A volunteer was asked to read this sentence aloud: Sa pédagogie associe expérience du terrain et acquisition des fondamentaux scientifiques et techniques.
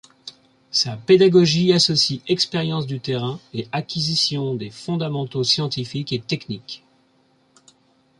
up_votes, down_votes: 2, 0